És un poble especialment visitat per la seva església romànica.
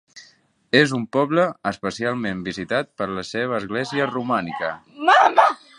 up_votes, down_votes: 0, 2